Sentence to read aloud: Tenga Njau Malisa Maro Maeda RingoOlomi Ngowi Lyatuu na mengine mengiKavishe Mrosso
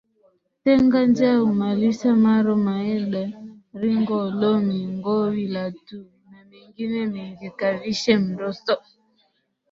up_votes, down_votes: 0, 2